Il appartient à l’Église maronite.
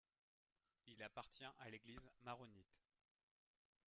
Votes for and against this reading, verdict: 1, 2, rejected